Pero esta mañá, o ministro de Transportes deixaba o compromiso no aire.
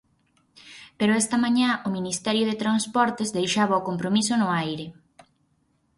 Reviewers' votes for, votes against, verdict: 0, 4, rejected